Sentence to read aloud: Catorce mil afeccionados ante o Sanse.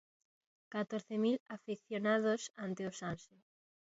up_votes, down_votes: 2, 0